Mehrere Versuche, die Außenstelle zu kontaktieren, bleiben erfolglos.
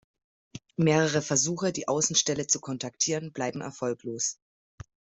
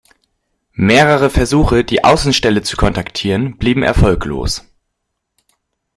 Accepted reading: first